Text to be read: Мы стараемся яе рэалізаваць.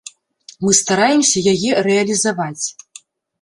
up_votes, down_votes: 2, 0